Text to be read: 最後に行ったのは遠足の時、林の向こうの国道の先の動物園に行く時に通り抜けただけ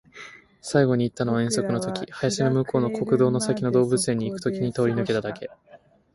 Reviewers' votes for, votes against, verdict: 1, 2, rejected